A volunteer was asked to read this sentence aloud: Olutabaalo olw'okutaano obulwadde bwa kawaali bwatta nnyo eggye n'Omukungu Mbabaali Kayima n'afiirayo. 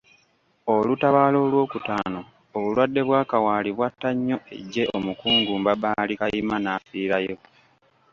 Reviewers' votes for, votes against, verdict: 3, 0, accepted